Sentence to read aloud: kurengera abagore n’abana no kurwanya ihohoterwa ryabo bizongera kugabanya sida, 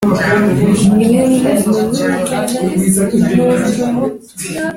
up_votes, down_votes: 0, 2